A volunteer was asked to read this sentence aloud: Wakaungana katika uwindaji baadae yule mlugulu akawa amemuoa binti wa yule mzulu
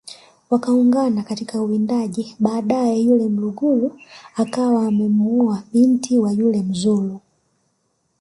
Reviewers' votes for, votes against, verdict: 2, 1, accepted